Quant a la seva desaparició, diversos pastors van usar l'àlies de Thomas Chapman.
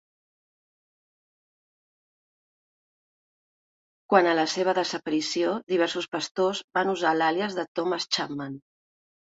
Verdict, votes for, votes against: accepted, 2, 1